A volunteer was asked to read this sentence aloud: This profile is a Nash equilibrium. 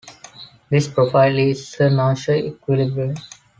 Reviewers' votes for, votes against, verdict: 2, 0, accepted